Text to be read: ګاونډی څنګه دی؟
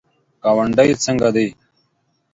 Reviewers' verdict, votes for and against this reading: accepted, 2, 0